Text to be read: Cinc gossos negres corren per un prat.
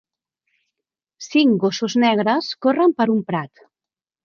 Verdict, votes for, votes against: accepted, 3, 0